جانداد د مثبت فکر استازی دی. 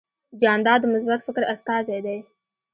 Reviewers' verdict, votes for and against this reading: accepted, 2, 0